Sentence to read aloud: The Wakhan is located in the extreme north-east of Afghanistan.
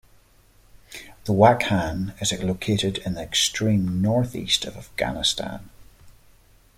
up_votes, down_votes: 2, 0